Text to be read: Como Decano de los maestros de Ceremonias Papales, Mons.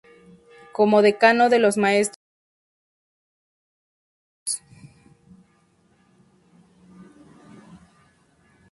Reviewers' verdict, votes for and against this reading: rejected, 0, 2